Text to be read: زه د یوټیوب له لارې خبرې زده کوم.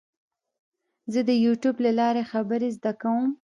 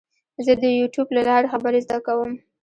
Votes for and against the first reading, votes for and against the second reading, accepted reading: 2, 1, 0, 2, first